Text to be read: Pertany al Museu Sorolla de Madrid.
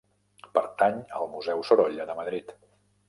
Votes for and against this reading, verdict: 3, 0, accepted